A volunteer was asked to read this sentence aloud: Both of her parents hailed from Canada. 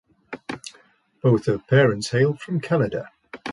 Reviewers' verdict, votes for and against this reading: accepted, 2, 0